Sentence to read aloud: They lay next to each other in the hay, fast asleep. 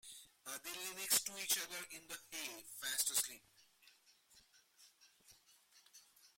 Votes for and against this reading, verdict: 0, 2, rejected